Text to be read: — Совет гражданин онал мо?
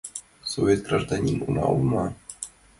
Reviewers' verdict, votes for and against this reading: accepted, 2, 1